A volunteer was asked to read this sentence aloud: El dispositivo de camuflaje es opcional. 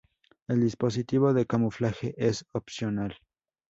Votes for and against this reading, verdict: 0, 2, rejected